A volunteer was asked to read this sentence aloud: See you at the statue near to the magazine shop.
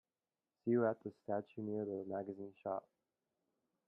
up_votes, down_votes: 1, 2